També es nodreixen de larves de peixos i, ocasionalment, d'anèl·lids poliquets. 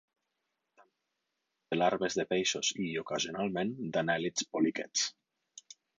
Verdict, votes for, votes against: rejected, 0, 4